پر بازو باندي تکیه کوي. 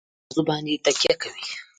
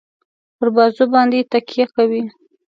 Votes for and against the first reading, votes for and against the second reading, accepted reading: 1, 2, 2, 0, second